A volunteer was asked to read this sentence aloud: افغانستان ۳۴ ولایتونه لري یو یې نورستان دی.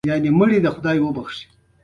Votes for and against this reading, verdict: 0, 2, rejected